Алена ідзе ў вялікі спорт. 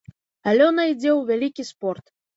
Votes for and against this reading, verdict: 1, 2, rejected